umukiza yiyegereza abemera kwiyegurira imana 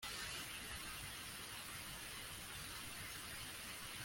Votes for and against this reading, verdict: 0, 2, rejected